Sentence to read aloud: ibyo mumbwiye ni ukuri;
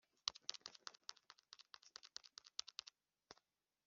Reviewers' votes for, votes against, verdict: 0, 2, rejected